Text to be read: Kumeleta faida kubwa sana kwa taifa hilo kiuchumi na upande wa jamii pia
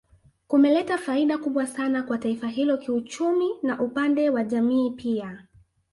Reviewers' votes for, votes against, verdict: 2, 0, accepted